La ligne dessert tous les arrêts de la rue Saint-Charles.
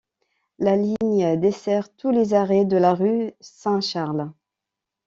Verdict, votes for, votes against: accepted, 2, 0